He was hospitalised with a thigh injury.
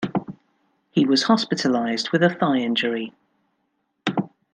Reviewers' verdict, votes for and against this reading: accepted, 2, 0